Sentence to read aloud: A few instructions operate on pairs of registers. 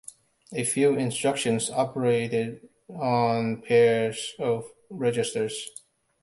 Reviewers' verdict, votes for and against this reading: rejected, 1, 2